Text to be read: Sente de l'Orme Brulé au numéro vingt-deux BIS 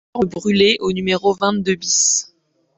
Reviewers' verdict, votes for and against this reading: rejected, 0, 2